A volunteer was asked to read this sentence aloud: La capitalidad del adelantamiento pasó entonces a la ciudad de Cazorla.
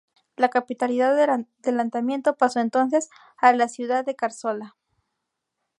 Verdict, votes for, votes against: rejected, 0, 2